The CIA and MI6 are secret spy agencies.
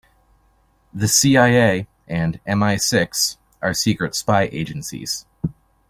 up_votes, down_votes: 0, 2